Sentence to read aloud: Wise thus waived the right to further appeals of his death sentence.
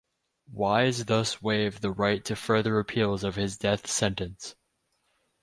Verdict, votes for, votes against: accepted, 12, 0